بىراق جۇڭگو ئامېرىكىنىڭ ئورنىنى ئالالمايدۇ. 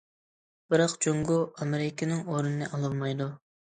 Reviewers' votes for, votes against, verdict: 2, 0, accepted